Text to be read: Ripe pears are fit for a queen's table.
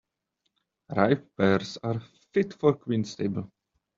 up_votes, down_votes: 2, 1